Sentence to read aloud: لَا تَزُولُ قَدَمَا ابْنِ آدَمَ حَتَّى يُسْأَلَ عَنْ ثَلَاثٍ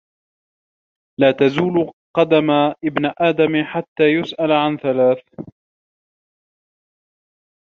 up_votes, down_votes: 1, 2